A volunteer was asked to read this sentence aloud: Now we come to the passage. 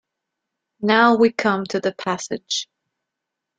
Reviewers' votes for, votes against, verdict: 2, 0, accepted